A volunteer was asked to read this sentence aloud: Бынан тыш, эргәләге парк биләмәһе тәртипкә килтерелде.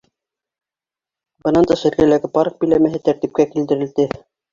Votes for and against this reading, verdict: 2, 1, accepted